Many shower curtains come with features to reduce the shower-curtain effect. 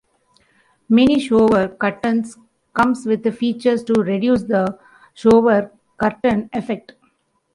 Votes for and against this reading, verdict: 1, 2, rejected